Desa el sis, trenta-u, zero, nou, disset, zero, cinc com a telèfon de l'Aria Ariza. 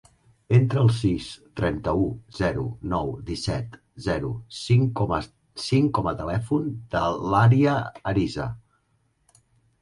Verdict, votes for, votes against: rejected, 0, 3